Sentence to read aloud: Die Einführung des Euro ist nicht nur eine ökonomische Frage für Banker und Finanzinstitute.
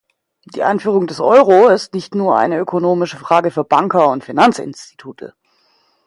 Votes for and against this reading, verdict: 2, 0, accepted